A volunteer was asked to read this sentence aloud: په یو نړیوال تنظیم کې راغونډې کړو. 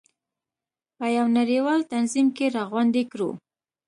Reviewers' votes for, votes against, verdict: 3, 0, accepted